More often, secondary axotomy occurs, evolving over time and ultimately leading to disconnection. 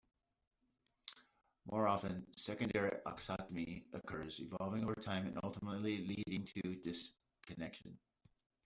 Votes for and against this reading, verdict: 0, 2, rejected